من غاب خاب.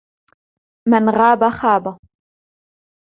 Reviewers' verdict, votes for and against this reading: accepted, 2, 0